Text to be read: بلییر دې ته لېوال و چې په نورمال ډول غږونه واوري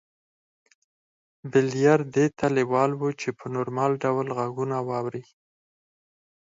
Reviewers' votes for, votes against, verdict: 2, 4, rejected